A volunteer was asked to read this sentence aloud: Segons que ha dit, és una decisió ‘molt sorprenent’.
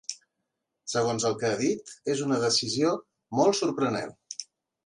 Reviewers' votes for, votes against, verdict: 0, 2, rejected